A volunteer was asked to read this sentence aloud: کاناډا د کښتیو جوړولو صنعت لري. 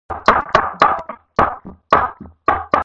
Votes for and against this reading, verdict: 0, 4, rejected